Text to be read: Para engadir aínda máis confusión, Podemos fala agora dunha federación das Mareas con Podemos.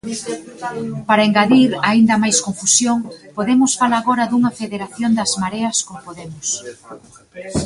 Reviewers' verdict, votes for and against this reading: rejected, 1, 2